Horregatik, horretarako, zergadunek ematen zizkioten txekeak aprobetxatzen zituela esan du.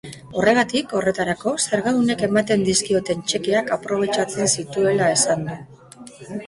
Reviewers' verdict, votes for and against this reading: accepted, 2, 1